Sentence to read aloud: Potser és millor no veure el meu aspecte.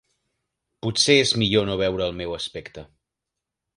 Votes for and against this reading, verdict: 4, 0, accepted